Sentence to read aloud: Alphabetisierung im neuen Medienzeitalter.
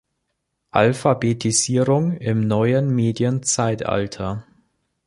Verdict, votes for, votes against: accepted, 3, 0